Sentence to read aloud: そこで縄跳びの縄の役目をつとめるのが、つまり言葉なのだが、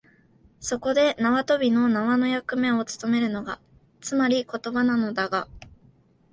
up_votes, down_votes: 2, 0